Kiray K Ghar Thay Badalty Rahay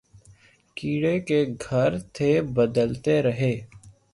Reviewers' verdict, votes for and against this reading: accepted, 3, 0